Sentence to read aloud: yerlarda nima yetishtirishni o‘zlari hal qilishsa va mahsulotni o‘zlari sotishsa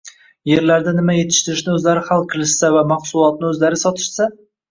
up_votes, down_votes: 1, 2